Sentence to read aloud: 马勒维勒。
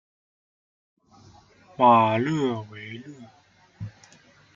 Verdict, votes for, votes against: rejected, 0, 2